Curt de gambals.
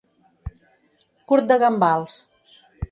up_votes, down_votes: 3, 0